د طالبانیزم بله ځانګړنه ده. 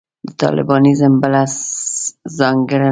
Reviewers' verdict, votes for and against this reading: rejected, 0, 2